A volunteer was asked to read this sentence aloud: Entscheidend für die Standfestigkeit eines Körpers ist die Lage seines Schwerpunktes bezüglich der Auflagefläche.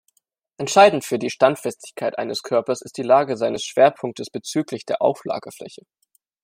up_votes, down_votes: 2, 0